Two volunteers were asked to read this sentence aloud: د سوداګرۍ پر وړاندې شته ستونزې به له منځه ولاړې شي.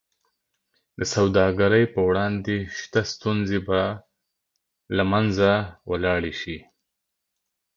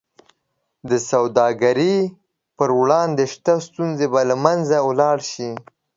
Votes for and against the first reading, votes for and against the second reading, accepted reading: 2, 0, 0, 2, first